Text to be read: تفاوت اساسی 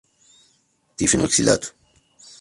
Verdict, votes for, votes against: rejected, 0, 2